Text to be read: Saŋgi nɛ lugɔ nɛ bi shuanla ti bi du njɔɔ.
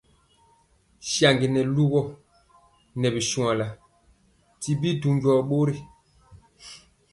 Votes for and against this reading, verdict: 2, 0, accepted